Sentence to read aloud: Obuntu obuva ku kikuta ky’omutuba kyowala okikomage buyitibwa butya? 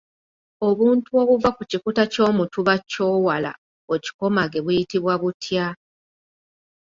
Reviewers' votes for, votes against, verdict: 2, 0, accepted